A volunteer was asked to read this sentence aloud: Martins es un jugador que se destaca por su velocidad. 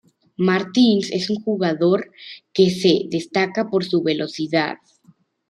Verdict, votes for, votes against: accepted, 2, 0